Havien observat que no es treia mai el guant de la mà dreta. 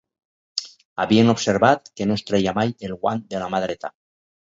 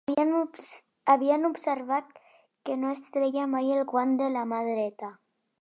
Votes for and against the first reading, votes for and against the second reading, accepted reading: 4, 0, 1, 2, first